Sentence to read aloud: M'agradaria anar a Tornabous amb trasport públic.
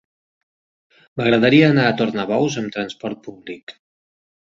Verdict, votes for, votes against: accepted, 3, 0